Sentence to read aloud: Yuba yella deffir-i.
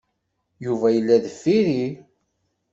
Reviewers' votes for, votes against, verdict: 2, 0, accepted